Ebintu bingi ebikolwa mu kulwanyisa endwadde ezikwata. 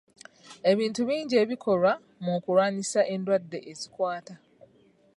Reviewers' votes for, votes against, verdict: 2, 1, accepted